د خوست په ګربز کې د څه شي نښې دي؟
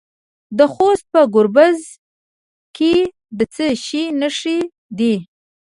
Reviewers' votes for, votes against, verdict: 1, 2, rejected